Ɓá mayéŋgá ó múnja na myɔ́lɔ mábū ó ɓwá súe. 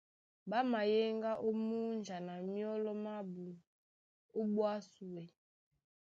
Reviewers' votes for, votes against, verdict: 2, 0, accepted